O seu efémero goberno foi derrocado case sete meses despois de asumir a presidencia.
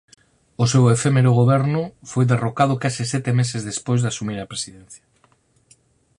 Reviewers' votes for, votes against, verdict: 4, 0, accepted